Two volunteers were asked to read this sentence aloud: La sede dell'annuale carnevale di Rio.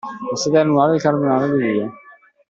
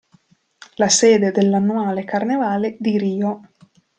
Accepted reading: second